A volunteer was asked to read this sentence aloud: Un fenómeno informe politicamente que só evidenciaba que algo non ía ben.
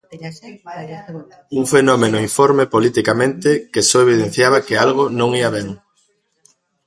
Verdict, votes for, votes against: rejected, 1, 2